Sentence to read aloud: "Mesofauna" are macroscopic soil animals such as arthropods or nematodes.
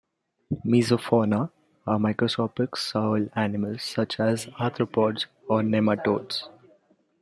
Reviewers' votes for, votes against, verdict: 2, 0, accepted